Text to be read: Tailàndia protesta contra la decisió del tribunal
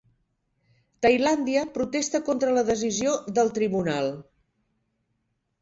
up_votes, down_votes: 4, 0